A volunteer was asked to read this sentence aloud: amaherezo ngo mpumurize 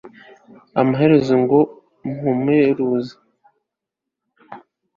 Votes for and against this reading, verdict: 1, 2, rejected